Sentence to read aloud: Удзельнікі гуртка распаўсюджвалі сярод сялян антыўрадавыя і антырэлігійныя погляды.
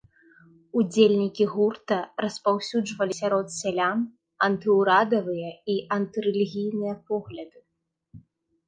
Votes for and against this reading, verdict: 0, 2, rejected